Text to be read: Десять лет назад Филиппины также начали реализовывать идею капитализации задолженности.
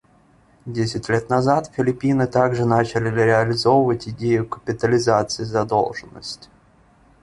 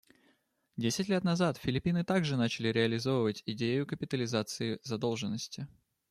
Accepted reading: second